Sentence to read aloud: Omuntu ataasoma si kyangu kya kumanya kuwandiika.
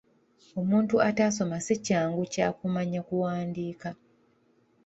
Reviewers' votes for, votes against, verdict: 2, 1, accepted